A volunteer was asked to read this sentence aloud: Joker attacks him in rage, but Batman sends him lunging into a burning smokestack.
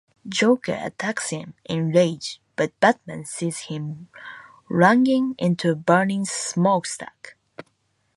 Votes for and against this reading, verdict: 0, 2, rejected